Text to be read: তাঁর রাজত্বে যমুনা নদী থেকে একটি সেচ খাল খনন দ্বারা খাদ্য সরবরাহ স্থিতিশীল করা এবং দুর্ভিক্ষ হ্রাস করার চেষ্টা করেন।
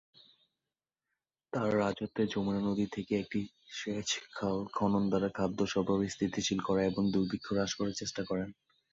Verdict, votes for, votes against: accepted, 2, 0